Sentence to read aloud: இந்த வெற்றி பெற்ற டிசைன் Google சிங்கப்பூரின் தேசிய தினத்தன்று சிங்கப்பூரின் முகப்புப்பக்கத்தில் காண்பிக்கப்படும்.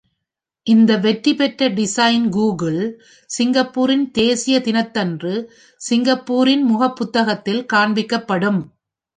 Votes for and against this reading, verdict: 1, 2, rejected